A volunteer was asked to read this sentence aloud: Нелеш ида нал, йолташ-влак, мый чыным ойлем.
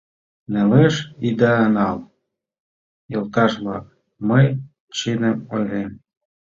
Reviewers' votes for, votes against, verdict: 1, 2, rejected